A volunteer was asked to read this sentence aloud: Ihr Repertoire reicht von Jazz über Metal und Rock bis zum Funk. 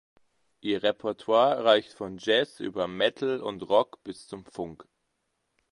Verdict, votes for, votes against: rejected, 1, 2